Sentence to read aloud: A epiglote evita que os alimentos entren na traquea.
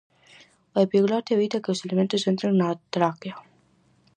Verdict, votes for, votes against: rejected, 2, 2